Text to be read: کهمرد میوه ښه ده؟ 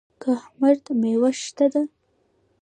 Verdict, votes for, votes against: rejected, 1, 2